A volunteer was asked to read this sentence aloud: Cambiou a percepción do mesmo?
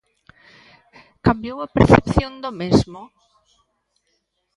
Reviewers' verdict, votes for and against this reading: accepted, 2, 0